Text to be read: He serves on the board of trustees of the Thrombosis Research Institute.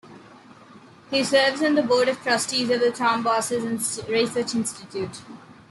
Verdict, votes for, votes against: rejected, 0, 2